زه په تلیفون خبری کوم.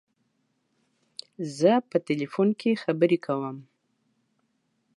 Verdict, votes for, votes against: rejected, 1, 2